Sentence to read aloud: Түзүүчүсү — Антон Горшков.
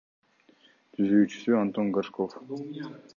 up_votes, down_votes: 2, 1